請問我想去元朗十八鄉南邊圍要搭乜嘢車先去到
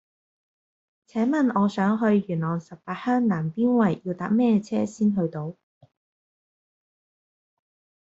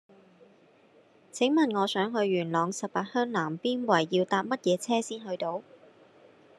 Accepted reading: second